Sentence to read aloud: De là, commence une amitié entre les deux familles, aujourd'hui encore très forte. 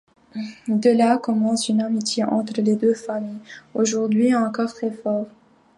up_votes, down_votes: 2, 1